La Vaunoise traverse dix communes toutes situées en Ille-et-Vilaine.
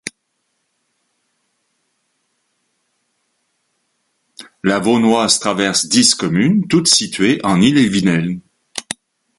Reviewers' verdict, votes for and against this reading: accepted, 2, 1